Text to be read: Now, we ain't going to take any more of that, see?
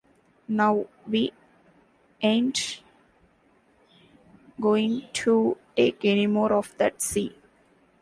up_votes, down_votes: 0, 2